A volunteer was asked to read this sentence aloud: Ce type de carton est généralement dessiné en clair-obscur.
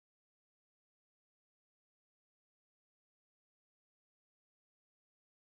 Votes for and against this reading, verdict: 0, 2, rejected